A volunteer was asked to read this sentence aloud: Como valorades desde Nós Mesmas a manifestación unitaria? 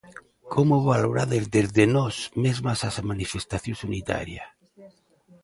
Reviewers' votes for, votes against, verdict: 1, 2, rejected